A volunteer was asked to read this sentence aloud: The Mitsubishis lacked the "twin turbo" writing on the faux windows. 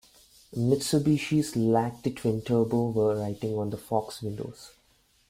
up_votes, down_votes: 1, 2